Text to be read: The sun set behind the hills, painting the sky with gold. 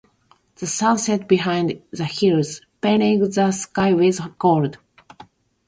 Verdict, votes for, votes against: rejected, 0, 2